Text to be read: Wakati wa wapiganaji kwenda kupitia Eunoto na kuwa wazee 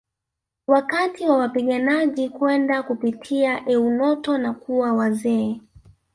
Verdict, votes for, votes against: rejected, 1, 2